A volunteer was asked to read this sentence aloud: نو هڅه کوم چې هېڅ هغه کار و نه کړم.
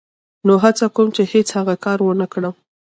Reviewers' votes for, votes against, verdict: 2, 0, accepted